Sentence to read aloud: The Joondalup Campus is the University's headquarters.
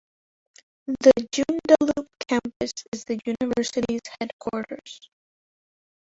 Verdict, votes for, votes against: rejected, 0, 2